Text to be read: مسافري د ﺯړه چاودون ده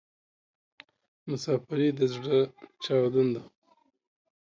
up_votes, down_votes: 2, 0